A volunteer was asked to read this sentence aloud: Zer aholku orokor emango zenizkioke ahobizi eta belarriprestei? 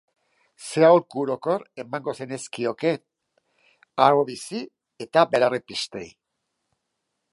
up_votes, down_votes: 2, 1